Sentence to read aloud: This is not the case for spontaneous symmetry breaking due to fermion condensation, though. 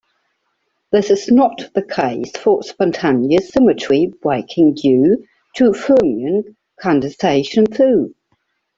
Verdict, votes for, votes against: accepted, 2, 1